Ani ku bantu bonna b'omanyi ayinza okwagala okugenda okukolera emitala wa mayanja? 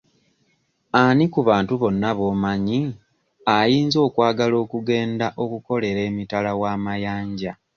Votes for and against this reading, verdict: 2, 0, accepted